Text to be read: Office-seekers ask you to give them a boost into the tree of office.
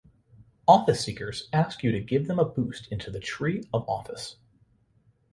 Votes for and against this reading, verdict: 2, 0, accepted